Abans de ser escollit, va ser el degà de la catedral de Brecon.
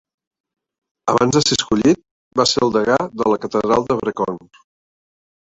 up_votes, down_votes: 0, 2